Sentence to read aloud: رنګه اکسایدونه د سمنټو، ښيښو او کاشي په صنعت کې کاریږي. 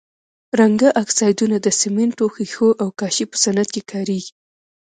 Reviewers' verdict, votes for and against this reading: rejected, 1, 2